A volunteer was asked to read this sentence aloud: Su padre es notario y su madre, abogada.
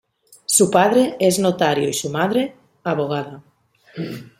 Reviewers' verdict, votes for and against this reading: rejected, 1, 2